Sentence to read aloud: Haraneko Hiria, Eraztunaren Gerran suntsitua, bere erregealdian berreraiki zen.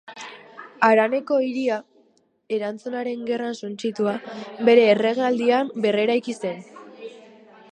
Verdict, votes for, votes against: rejected, 2, 2